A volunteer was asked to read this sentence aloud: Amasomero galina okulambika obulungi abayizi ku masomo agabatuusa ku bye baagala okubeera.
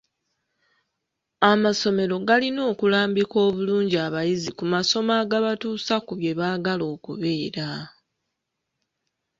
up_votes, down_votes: 2, 1